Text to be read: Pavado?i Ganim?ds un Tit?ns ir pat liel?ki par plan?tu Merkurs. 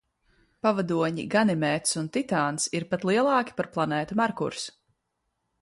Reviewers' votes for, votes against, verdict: 0, 2, rejected